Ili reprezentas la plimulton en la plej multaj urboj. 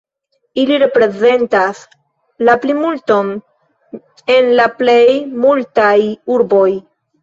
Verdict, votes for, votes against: rejected, 1, 2